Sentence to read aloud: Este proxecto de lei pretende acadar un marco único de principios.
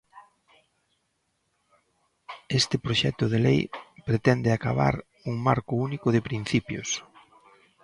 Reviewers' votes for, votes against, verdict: 0, 2, rejected